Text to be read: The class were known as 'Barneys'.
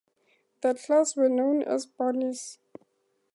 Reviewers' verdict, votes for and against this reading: accepted, 2, 0